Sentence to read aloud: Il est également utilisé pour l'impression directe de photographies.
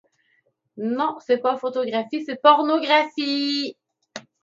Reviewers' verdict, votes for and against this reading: rejected, 0, 2